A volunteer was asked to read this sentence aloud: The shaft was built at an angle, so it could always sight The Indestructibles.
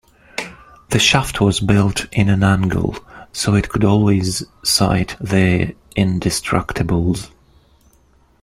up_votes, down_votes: 1, 2